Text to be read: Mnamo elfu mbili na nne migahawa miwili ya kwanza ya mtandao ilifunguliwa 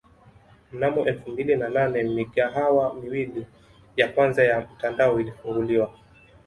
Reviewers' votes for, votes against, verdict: 1, 2, rejected